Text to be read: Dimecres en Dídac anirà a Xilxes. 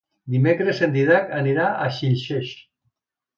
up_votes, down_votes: 2, 1